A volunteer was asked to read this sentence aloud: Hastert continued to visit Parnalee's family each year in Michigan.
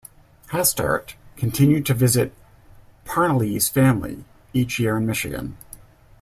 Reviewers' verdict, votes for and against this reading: accepted, 2, 0